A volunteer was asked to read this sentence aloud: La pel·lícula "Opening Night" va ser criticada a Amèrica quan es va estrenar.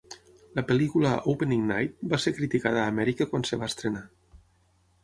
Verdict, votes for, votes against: accepted, 6, 0